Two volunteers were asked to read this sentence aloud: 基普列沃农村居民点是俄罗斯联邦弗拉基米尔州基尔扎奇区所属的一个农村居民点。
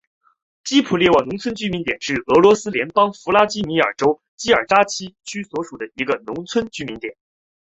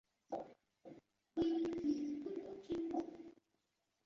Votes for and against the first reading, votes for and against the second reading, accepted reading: 2, 0, 0, 2, first